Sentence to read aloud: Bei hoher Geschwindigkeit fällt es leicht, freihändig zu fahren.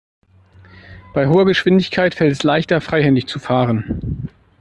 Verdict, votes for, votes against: rejected, 0, 2